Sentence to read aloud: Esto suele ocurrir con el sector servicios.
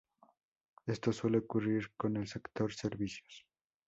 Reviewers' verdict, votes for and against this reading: accepted, 4, 0